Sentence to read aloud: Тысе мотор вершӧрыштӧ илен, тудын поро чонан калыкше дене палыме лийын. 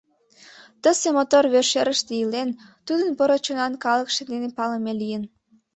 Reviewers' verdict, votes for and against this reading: accepted, 3, 1